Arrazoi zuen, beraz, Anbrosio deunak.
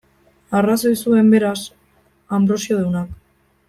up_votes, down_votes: 1, 2